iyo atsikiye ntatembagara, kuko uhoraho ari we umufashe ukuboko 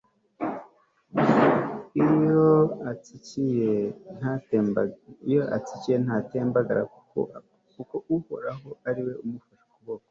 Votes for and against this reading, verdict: 0, 2, rejected